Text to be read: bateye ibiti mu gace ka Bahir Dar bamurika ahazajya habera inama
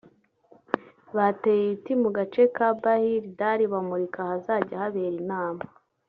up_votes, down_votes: 1, 2